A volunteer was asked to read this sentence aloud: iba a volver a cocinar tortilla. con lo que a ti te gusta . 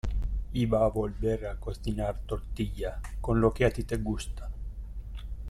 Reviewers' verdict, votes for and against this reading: rejected, 0, 2